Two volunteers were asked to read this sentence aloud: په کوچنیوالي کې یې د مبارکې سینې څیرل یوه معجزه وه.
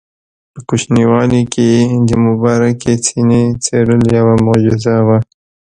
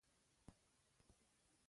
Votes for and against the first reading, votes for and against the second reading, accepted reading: 2, 0, 1, 2, first